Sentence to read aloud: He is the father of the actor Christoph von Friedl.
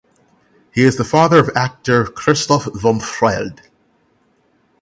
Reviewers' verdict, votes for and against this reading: rejected, 3, 6